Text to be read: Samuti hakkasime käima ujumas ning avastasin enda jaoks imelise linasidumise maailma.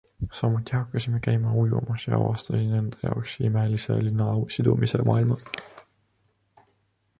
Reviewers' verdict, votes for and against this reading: rejected, 0, 2